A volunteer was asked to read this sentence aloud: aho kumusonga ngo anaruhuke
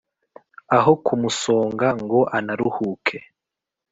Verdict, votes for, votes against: accepted, 2, 0